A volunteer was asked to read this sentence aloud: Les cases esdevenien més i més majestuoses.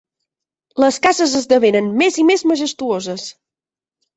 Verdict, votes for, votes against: rejected, 1, 2